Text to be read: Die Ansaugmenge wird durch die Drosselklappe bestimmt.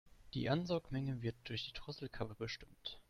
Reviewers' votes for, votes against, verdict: 0, 2, rejected